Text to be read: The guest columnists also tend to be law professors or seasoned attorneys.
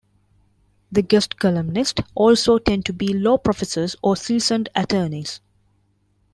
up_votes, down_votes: 0, 2